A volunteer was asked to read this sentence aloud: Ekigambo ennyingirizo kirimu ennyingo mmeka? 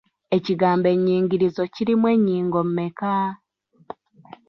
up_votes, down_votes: 2, 0